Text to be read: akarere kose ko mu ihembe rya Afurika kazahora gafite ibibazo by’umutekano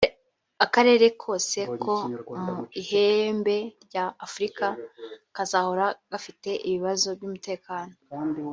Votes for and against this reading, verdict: 3, 0, accepted